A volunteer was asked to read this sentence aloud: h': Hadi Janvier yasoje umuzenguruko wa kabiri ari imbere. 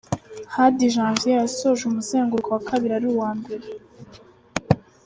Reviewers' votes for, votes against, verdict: 1, 2, rejected